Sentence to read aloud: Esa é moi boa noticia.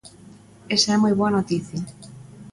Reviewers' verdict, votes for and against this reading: accepted, 2, 0